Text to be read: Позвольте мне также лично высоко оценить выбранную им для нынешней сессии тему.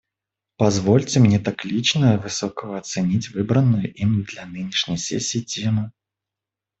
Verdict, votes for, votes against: rejected, 0, 2